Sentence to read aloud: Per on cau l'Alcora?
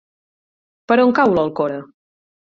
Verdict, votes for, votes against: accepted, 8, 0